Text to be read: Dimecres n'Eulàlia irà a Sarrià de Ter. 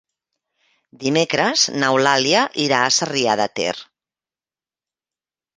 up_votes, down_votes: 3, 0